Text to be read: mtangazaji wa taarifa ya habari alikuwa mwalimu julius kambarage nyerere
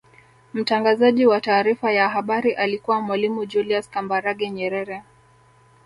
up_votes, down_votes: 2, 1